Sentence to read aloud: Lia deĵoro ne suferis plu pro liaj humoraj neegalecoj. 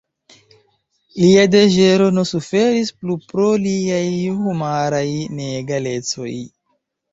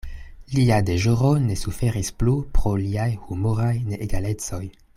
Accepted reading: second